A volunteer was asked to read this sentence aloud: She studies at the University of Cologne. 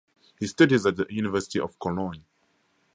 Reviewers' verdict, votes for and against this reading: accepted, 2, 0